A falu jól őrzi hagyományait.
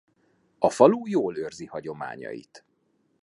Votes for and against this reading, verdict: 2, 0, accepted